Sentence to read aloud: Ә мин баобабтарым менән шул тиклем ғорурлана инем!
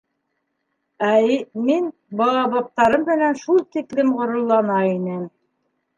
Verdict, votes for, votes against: rejected, 0, 2